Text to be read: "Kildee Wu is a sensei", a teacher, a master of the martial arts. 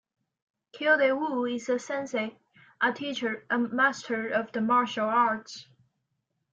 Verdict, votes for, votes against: accepted, 2, 0